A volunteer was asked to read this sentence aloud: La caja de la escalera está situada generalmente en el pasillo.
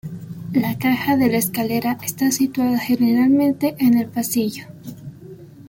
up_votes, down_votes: 3, 0